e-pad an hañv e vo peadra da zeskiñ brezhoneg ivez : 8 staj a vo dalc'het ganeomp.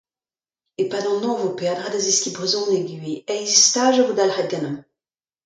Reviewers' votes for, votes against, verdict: 0, 2, rejected